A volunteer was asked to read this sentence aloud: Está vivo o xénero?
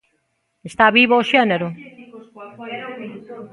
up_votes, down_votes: 1, 2